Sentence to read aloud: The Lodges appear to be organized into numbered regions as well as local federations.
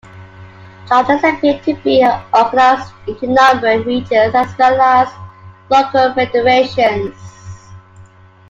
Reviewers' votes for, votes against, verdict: 1, 2, rejected